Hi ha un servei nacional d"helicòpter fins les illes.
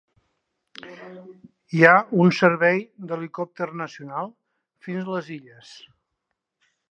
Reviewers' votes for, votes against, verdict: 0, 2, rejected